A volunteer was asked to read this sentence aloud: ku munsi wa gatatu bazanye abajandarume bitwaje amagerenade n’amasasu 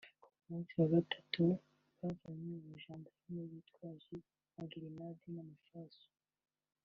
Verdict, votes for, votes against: rejected, 0, 2